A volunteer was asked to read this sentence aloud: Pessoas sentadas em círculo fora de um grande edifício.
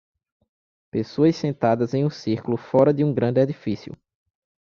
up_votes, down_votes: 1, 2